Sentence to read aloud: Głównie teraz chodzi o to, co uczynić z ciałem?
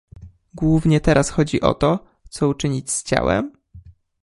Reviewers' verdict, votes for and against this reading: accepted, 2, 0